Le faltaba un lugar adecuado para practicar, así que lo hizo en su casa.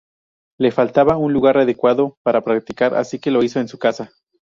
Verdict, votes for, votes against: rejected, 0, 2